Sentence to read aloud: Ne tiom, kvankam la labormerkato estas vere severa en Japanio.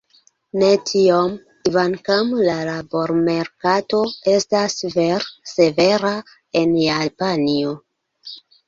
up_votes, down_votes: 0, 2